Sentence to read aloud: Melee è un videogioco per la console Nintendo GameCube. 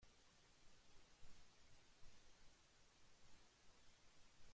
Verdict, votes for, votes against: rejected, 0, 2